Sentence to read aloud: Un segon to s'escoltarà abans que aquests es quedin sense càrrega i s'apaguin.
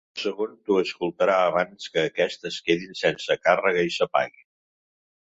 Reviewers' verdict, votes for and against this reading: rejected, 1, 2